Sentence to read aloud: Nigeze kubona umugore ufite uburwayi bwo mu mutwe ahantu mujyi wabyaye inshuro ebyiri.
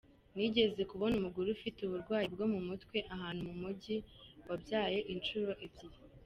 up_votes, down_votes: 3, 0